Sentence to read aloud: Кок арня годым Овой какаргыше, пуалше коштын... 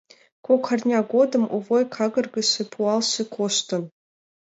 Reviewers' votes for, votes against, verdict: 2, 0, accepted